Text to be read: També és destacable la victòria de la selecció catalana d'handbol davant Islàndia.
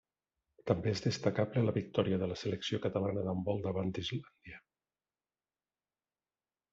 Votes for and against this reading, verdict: 2, 1, accepted